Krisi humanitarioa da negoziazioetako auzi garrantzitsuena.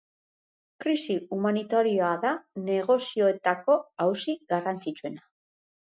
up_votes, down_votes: 1, 3